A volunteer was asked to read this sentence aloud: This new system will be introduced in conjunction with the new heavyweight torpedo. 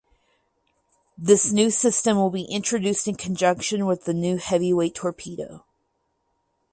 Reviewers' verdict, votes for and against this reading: rejected, 2, 2